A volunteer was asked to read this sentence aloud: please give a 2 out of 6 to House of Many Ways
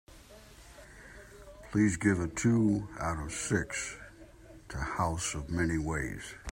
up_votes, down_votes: 0, 2